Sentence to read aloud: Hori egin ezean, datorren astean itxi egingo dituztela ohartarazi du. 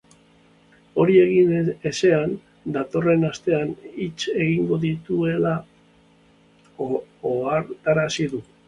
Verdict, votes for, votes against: rejected, 1, 2